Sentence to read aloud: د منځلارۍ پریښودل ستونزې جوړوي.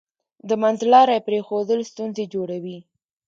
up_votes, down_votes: 1, 2